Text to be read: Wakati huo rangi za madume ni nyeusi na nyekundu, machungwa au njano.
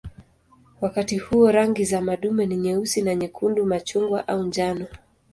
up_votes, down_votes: 2, 0